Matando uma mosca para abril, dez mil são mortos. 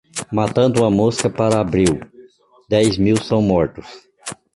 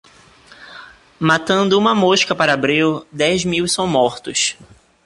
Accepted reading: second